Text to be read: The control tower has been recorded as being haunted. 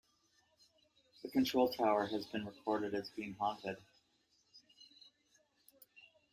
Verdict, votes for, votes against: accepted, 2, 0